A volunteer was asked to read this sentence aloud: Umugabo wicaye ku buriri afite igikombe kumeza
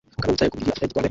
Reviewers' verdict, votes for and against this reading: rejected, 0, 2